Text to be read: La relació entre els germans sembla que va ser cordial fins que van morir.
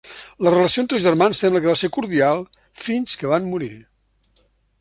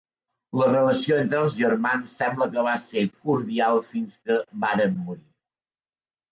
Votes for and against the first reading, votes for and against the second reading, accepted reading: 2, 0, 0, 2, first